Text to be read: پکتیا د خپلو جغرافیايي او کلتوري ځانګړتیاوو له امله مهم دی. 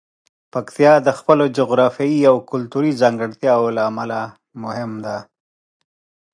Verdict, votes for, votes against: accepted, 2, 0